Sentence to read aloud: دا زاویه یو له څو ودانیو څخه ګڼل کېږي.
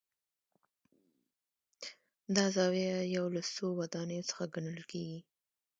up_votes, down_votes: 0, 2